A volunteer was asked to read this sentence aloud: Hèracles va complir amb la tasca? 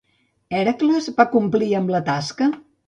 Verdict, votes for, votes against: accepted, 2, 0